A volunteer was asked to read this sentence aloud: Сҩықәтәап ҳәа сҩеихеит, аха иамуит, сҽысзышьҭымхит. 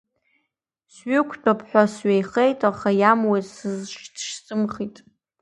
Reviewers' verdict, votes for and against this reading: rejected, 0, 2